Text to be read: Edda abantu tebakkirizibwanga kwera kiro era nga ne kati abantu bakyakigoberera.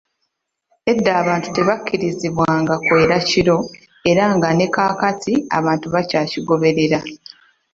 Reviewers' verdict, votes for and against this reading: accepted, 2, 0